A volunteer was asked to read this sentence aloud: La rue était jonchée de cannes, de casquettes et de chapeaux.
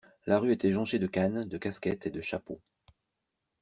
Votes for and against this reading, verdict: 2, 0, accepted